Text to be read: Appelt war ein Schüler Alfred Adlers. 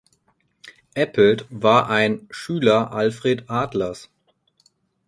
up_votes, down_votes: 4, 2